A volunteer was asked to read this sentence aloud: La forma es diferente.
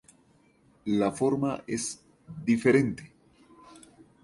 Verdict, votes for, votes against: rejected, 0, 2